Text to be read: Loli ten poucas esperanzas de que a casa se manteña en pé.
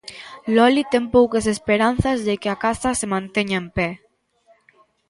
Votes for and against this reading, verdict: 2, 0, accepted